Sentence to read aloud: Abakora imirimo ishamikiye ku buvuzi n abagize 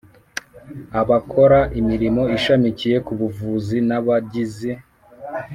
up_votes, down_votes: 1, 2